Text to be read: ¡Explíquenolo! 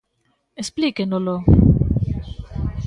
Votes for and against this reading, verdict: 1, 2, rejected